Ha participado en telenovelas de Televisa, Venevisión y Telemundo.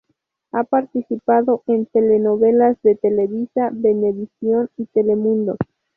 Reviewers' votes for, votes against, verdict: 0, 2, rejected